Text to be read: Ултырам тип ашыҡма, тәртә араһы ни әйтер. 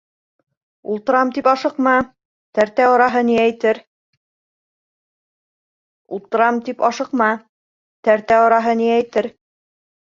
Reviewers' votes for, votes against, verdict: 1, 2, rejected